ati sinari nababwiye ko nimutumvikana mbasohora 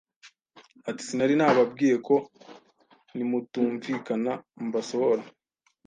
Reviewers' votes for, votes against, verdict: 2, 0, accepted